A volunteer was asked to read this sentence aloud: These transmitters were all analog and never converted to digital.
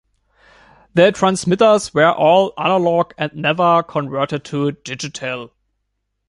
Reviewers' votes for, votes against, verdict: 1, 2, rejected